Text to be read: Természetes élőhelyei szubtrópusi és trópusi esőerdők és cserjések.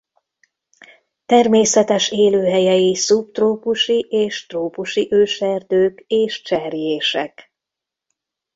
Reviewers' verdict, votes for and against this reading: rejected, 1, 2